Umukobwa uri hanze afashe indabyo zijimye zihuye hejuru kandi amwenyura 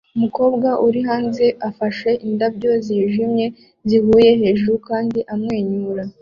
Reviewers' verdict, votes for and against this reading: accepted, 2, 0